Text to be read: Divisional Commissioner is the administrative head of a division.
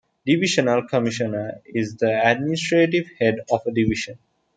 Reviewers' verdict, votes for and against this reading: accepted, 2, 0